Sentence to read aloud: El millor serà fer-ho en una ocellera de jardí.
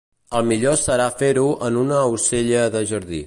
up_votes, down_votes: 0, 2